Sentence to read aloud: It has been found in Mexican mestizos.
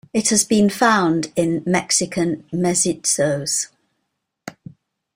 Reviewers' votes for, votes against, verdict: 0, 2, rejected